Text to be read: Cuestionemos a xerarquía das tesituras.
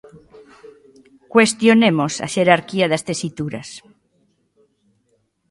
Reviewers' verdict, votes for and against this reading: rejected, 1, 2